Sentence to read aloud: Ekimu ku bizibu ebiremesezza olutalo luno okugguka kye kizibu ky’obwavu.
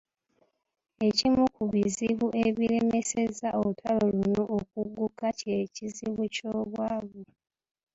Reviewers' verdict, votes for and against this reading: accepted, 2, 1